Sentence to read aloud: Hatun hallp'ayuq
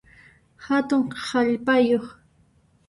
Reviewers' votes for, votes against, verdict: 0, 2, rejected